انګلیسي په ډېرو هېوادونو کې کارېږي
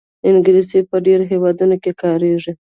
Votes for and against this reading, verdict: 1, 2, rejected